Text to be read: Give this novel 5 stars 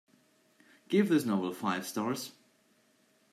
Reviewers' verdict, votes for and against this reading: rejected, 0, 2